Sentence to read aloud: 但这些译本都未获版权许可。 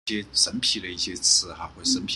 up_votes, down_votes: 0, 2